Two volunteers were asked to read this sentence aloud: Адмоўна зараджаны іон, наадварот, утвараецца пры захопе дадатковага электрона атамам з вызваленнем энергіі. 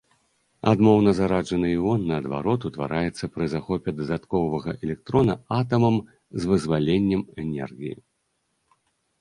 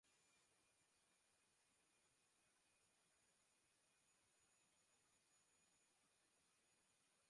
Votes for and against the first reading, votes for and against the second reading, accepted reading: 2, 0, 0, 2, first